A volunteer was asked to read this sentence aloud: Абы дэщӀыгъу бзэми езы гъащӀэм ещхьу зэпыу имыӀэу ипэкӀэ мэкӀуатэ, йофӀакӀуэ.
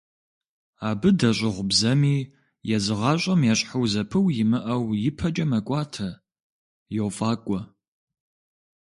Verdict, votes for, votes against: accepted, 2, 0